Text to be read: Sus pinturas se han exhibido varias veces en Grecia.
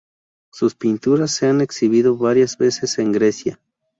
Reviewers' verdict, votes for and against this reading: accepted, 2, 0